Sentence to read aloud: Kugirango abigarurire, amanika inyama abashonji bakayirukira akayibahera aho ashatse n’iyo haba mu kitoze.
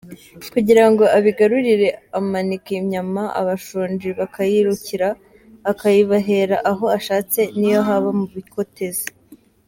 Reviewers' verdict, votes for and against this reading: rejected, 1, 2